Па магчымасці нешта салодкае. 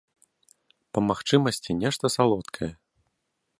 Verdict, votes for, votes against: accepted, 2, 0